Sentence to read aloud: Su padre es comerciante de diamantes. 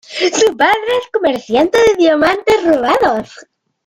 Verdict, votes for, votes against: rejected, 0, 2